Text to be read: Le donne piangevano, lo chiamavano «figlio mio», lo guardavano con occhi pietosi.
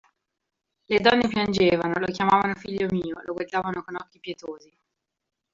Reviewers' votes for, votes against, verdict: 0, 2, rejected